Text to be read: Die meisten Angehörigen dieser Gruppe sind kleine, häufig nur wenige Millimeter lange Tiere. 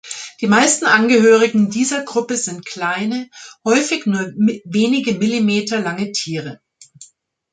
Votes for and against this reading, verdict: 0, 2, rejected